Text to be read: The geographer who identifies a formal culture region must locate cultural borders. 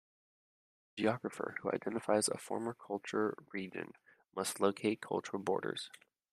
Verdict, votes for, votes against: rejected, 0, 2